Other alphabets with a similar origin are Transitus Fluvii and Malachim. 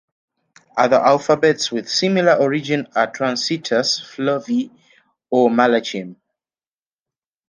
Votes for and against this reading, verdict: 0, 2, rejected